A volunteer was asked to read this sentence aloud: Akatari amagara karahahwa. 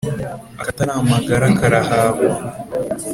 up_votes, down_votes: 2, 0